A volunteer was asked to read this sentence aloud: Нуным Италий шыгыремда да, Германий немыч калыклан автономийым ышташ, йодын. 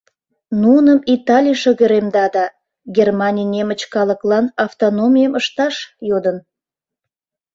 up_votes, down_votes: 2, 0